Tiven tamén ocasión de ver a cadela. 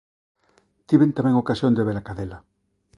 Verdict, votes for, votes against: accepted, 2, 0